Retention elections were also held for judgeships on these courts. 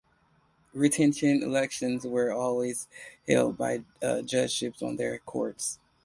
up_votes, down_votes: 0, 2